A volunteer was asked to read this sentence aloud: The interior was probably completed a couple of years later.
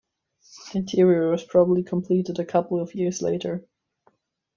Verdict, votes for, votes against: accepted, 2, 1